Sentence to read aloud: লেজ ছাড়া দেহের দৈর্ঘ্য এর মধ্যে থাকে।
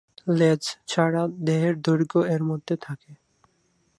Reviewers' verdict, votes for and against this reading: accepted, 2, 0